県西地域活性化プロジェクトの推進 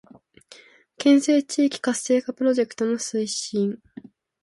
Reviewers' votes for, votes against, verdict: 2, 0, accepted